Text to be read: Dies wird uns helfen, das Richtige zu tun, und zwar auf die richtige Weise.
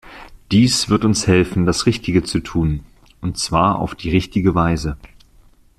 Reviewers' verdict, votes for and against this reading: accepted, 2, 0